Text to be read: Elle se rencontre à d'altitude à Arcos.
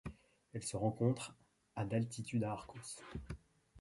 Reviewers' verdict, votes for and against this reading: accepted, 2, 0